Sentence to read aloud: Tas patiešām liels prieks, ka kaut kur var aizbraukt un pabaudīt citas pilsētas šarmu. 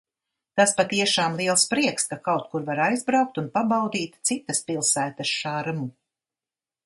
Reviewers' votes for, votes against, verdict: 2, 0, accepted